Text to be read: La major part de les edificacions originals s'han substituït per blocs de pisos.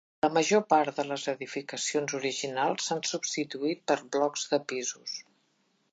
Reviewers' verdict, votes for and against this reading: accepted, 2, 0